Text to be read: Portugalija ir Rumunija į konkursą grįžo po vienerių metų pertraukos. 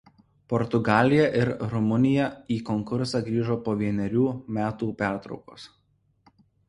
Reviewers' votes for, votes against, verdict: 2, 0, accepted